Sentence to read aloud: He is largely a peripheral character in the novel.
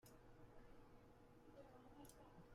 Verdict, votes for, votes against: rejected, 0, 2